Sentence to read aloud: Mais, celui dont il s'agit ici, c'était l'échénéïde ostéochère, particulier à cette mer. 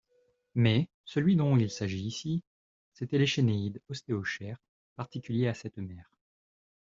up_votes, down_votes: 2, 0